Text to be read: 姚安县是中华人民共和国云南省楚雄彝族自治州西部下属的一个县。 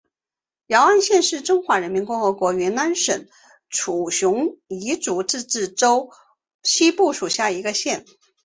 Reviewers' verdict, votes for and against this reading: rejected, 2, 3